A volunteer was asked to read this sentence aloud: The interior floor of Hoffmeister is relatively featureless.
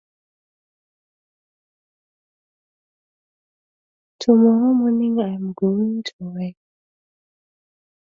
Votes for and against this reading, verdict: 0, 2, rejected